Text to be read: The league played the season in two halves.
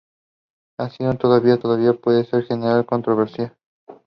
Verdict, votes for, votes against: rejected, 0, 2